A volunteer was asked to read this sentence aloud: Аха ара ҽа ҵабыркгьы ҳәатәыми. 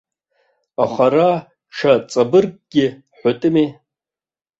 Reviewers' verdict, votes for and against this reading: rejected, 0, 2